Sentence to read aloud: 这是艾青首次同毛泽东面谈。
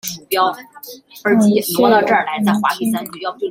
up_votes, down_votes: 0, 3